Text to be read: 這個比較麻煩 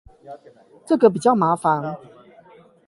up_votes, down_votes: 4, 8